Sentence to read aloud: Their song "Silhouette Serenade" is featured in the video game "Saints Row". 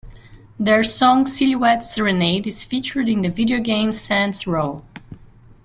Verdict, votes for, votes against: accepted, 2, 0